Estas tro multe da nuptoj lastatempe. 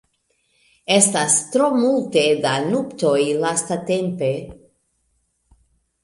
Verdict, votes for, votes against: accepted, 2, 0